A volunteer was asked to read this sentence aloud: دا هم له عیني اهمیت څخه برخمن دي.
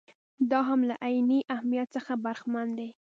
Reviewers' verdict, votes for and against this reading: accepted, 2, 0